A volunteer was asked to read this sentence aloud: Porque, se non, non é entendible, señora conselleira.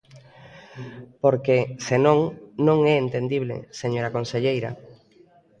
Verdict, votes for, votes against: rejected, 0, 2